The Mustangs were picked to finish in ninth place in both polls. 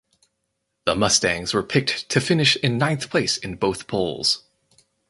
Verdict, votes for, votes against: accepted, 4, 0